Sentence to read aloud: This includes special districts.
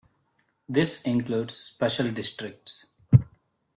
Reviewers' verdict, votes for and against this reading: accepted, 2, 0